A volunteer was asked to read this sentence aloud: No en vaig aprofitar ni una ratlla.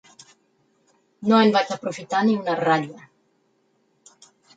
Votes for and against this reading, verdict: 4, 2, accepted